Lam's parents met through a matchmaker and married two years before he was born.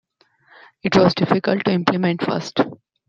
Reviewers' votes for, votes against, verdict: 0, 2, rejected